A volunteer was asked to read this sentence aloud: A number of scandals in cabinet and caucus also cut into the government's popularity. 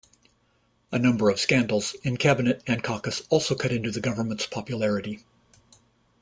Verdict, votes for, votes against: accepted, 2, 0